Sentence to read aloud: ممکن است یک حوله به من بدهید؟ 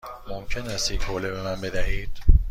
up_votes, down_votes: 2, 0